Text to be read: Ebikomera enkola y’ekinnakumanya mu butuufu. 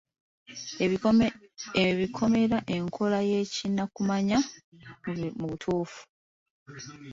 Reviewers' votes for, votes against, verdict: 0, 2, rejected